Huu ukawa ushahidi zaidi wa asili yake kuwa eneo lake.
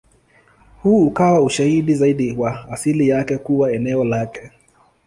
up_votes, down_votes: 2, 0